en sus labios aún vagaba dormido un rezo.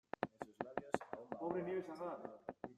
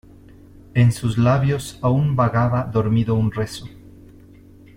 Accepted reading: second